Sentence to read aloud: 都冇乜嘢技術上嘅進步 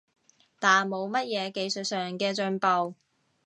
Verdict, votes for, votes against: rejected, 1, 2